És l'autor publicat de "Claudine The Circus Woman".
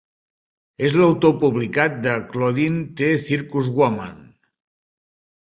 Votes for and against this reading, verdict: 1, 2, rejected